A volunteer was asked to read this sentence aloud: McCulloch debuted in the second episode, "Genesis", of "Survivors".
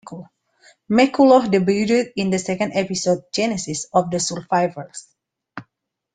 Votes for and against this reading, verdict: 0, 2, rejected